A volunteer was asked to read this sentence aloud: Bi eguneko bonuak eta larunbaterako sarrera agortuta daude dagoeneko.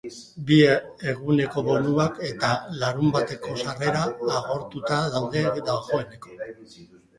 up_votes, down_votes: 0, 2